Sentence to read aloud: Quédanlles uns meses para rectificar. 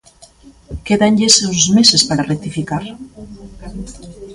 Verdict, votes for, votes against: rejected, 0, 2